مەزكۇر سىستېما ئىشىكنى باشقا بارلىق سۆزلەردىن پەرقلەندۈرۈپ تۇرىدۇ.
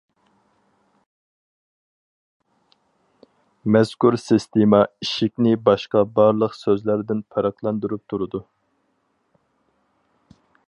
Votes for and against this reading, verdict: 4, 0, accepted